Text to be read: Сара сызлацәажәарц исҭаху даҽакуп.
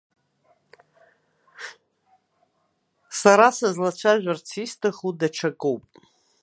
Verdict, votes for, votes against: rejected, 1, 2